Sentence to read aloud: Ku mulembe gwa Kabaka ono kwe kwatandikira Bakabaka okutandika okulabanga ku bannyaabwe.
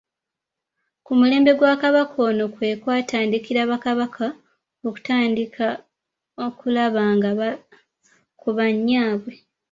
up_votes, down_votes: 0, 2